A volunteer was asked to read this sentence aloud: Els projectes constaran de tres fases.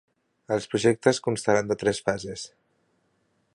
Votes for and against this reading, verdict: 4, 0, accepted